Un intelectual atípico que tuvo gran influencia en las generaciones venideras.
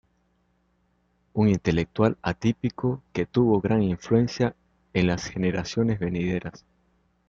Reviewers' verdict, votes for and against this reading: accepted, 2, 0